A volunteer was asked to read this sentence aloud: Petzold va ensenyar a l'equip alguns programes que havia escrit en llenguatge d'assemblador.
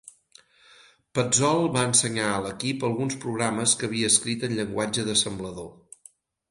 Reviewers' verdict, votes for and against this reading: accepted, 8, 0